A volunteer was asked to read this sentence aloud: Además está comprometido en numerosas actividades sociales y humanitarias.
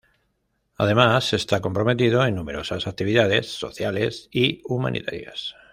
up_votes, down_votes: 2, 0